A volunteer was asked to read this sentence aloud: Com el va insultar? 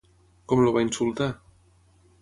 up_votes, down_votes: 0, 3